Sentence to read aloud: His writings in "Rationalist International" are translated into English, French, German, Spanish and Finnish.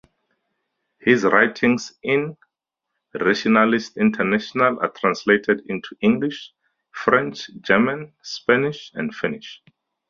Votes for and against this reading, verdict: 2, 0, accepted